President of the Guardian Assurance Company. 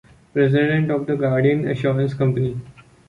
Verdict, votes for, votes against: accepted, 2, 1